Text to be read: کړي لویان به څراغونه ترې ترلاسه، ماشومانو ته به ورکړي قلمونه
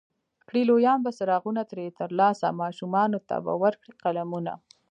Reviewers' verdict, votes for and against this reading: rejected, 0, 2